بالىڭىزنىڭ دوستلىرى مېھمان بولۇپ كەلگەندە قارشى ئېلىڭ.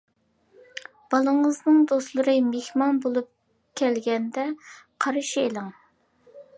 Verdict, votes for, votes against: accepted, 2, 1